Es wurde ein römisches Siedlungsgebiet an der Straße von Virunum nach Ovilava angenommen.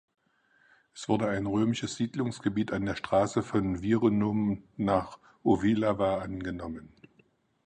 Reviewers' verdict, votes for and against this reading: accepted, 4, 0